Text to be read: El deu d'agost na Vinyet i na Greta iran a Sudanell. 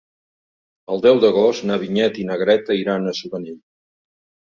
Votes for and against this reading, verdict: 2, 0, accepted